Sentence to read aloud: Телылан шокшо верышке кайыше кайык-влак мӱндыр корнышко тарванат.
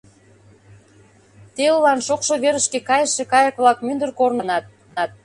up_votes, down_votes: 1, 2